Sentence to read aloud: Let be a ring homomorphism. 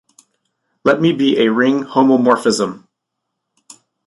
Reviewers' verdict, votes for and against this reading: rejected, 1, 3